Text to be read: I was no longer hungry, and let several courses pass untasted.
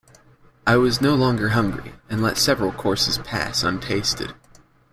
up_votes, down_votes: 2, 0